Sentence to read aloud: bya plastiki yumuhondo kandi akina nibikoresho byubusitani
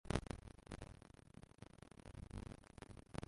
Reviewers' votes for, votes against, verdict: 0, 2, rejected